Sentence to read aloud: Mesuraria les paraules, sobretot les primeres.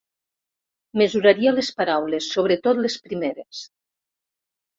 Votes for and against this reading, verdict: 3, 0, accepted